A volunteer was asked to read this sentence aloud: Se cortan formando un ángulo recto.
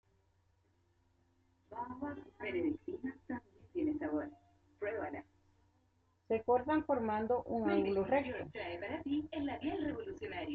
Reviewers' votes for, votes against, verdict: 0, 2, rejected